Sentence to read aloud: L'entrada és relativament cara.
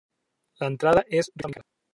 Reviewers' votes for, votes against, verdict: 0, 4, rejected